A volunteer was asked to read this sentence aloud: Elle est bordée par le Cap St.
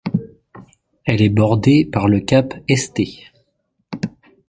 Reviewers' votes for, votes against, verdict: 0, 2, rejected